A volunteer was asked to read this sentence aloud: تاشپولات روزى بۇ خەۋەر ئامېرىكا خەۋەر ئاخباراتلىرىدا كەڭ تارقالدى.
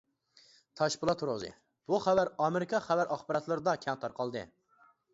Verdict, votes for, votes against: accepted, 2, 0